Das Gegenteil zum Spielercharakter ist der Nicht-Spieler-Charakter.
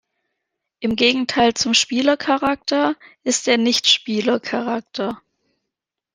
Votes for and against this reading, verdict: 0, 2, rejected